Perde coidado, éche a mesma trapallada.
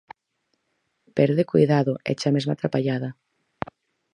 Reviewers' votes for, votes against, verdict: 4, 0, accepted